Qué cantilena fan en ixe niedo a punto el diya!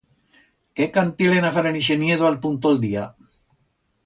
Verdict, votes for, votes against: rejected, 1, 2